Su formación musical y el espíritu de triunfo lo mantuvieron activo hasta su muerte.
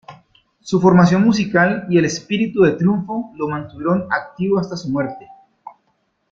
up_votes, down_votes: 2, 1